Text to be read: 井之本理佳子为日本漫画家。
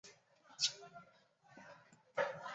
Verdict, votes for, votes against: rejected, 1, 2